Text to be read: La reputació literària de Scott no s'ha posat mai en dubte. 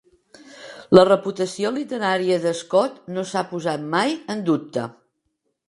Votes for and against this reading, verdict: 3, 0, accepted